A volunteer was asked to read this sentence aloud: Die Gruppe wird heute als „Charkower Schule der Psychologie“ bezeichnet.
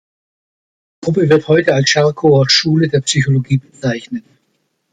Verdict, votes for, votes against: rejected, 1, 2